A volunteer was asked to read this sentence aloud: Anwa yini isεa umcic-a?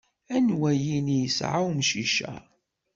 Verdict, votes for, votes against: accepted, 2, 0